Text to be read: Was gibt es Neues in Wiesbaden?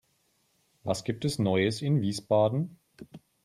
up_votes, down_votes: 3, 0